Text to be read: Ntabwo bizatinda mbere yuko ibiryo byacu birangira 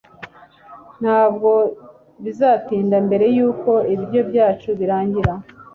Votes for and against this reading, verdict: 2, 0, accepted